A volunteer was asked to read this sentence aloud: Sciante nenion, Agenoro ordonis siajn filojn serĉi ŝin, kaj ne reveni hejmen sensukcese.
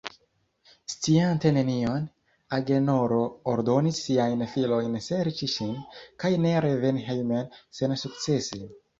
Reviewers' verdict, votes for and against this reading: accepted, 2, 0